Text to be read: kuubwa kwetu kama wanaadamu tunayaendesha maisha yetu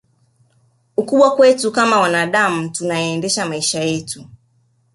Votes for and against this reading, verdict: 1, 2, rejected